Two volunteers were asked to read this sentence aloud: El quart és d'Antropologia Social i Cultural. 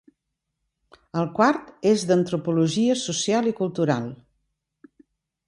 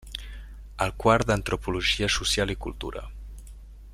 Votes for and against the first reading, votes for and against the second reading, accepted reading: 3, 0, 0, 2, first